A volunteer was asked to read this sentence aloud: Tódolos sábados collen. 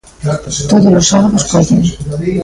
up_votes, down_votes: 0, 2